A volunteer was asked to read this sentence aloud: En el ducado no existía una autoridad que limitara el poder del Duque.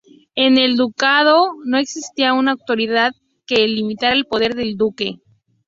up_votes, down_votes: 2, 0